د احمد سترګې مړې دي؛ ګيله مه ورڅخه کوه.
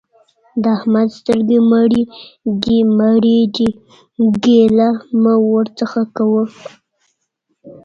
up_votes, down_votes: 2, 0